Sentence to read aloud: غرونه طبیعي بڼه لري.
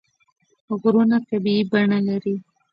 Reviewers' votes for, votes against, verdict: 0, 2, rejected